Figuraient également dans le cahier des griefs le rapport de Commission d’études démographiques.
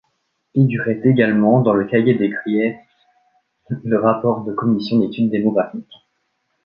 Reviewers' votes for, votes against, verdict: 1, 2, rejected